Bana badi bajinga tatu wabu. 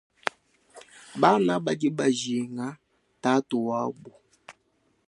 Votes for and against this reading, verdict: 2, 0, accepted